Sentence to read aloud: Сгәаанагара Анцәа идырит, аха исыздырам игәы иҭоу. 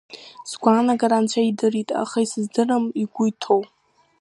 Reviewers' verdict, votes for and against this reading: accepted, 2, 0